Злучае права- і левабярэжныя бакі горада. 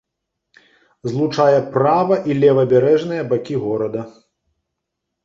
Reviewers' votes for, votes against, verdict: 3, 0, accepted